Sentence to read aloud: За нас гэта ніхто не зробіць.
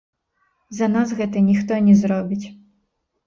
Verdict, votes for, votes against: rejected, 1, 2